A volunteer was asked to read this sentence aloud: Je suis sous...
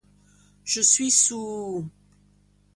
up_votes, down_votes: 0, 2